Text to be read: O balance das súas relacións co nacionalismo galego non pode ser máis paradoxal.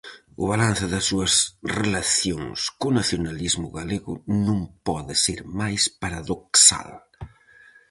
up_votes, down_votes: 2, 2